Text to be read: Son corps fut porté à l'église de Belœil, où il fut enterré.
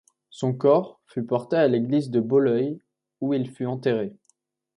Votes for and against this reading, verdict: 1, 2, rejected